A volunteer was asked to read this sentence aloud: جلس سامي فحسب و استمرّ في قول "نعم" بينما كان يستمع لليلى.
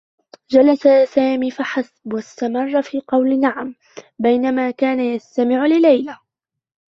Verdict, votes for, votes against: accepted, 2, 0